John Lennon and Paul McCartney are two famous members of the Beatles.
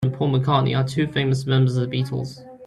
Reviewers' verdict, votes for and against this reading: rejected, 1, 2